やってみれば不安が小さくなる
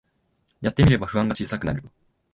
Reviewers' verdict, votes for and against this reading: accepted, 2, 0